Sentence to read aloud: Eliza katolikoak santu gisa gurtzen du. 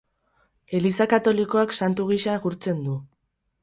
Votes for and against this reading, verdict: 2, 0, accepted